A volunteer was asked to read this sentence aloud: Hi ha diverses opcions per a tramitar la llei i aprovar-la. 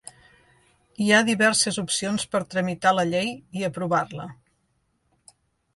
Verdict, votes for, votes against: rejected, 0, 2